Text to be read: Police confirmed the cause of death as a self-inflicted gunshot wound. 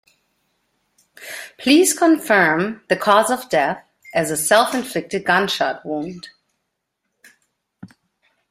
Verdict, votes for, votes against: rejected, 1, 2